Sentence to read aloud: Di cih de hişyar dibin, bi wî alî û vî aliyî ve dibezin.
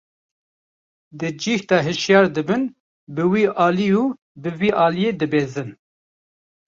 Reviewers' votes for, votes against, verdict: 0, 2, rejected